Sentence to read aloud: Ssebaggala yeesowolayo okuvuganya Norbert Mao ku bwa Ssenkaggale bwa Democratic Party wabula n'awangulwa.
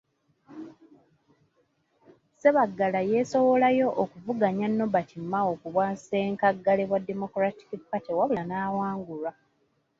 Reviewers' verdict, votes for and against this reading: accepted, 2, 0